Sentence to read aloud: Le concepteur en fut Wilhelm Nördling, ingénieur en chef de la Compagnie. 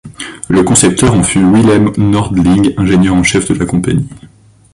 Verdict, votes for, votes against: rejected, 0, 2